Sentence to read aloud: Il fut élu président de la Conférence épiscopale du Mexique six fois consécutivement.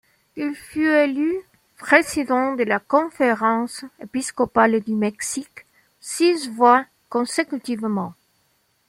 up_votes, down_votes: 2, 0